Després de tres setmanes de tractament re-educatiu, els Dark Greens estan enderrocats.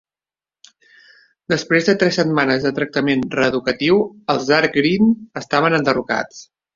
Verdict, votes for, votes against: rejected, 1, 3